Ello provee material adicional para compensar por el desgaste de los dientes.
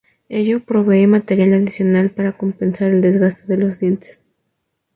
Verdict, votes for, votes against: rejected, 0, 2